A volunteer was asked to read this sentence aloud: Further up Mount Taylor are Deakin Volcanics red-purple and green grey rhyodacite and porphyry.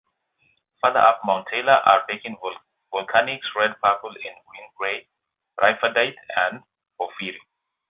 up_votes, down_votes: 1, 2